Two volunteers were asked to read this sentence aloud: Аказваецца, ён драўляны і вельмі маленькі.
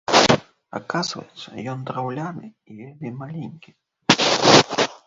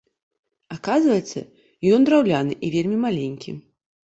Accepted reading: second